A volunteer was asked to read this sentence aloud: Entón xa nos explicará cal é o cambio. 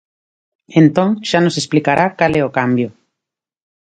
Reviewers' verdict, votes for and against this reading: accepted, 3, 1